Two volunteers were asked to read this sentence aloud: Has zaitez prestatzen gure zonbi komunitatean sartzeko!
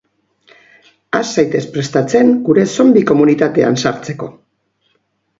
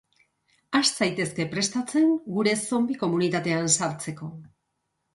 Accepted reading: first